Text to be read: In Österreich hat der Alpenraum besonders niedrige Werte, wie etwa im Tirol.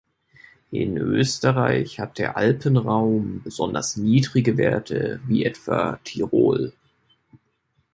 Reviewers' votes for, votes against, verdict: 0, 2, rejected